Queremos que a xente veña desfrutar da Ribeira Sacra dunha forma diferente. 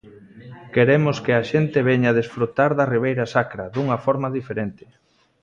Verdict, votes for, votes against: accepted, 2, 0